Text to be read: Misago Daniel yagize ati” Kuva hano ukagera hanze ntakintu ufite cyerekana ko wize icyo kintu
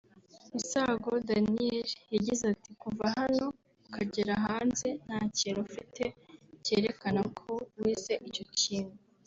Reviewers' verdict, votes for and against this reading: rejected, 1, 2